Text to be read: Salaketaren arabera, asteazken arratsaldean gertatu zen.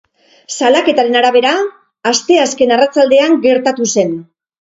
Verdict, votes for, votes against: rejected, 2, 2